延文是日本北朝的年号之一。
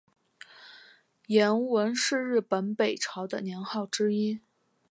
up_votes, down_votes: 3, 0